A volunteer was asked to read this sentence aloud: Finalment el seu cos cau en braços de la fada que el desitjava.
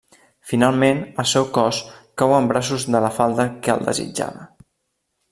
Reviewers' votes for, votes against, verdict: 0, 2, rejected